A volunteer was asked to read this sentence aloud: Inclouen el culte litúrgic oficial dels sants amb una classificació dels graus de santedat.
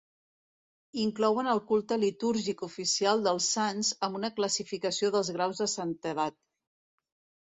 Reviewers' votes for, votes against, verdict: 2, 0, accepted